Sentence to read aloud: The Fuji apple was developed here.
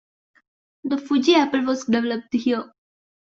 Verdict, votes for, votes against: accepted, 2, 0